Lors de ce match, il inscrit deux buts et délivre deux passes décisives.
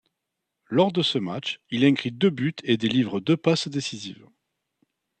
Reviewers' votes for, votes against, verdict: 1, 2, rejected